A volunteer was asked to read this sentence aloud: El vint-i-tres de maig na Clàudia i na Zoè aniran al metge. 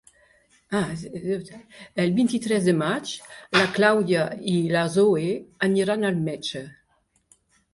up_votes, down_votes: 3, 1